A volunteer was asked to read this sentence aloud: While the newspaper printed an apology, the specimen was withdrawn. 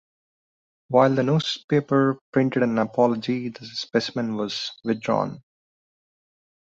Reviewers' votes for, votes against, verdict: 2, 0, accepted